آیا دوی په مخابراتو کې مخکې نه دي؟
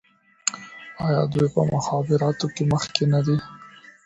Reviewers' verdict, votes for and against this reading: accepted, 2, 0